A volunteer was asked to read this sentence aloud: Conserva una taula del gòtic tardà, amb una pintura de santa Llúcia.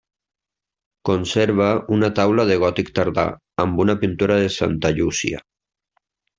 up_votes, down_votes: 1, 2